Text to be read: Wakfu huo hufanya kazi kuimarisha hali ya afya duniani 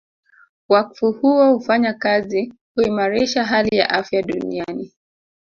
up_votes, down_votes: 0, 2